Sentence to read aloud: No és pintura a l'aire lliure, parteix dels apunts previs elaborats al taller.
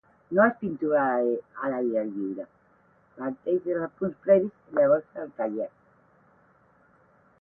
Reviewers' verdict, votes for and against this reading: rejected, 0, 8